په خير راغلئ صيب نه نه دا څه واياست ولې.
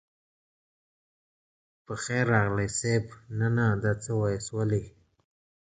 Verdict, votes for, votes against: accepted, 2, 1